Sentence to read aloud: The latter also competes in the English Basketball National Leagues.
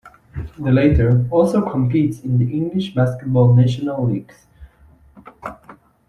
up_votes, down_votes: 1, 2